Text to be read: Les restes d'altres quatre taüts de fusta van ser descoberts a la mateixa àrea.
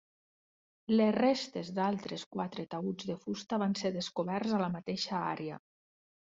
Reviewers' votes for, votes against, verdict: 3, 0, accepted